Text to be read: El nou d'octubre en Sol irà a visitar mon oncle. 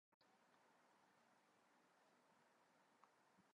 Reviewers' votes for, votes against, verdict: 1, 3, rejected